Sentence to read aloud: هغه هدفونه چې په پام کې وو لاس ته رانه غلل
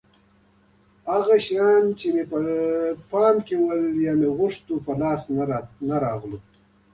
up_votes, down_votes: 1, 2